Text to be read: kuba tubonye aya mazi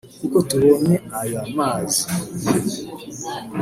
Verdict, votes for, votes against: rejected, 1, 2